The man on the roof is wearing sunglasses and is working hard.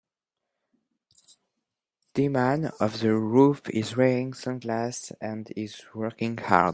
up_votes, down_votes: 0, 2